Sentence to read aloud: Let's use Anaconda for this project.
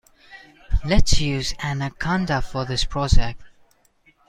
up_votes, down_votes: 0, 2